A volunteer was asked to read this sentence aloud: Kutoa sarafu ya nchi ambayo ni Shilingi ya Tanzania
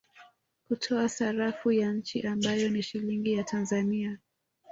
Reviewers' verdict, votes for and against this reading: rejected, 0, 2